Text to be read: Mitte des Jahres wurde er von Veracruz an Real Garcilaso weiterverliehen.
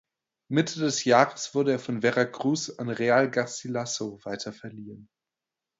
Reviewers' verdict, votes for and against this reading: accepted, 2, 0